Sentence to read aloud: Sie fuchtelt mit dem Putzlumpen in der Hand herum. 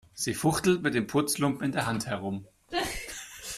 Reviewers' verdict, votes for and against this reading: accepted, 2, 0